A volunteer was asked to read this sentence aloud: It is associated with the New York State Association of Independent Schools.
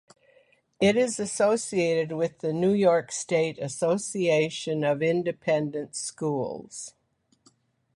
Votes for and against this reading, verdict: 2, 1, accepted